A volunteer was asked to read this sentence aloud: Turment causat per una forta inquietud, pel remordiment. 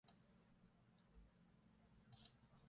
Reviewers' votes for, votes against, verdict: 1, 2, rejected